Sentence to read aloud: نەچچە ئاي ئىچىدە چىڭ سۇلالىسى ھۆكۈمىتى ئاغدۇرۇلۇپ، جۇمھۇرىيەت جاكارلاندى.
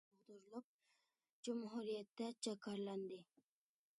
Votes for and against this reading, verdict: 0, 2, rejected